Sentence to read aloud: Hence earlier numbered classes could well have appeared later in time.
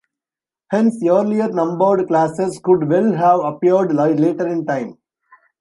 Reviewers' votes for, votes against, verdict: 0, 2, rejected